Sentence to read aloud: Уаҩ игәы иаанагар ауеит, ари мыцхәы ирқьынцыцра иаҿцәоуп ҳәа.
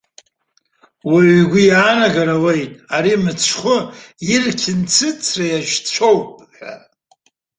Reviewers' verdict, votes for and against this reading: accepted, 2, 1